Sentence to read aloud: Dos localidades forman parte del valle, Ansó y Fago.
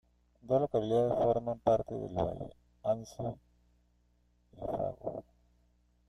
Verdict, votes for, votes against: rejected, 0, 2